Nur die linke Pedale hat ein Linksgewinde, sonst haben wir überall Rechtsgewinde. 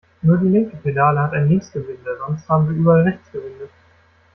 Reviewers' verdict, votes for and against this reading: rejected, 0, 2